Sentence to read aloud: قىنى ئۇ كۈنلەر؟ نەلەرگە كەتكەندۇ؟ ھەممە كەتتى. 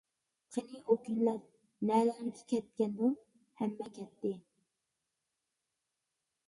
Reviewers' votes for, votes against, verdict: 0, 2, rejected